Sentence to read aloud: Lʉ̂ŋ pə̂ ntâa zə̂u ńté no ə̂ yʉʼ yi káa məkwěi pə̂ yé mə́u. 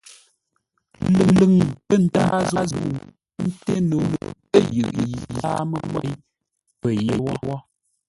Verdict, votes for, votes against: rejected, 0, 2